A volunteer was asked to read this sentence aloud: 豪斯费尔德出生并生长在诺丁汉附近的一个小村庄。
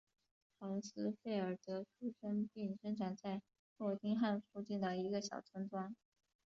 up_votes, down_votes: 2, 1